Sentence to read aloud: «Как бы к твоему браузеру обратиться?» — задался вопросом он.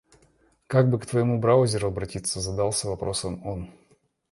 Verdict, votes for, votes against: accepted, 2, 0